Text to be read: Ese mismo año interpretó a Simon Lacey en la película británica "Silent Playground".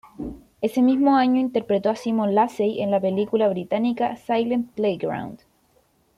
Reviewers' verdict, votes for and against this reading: accepted, 2, 0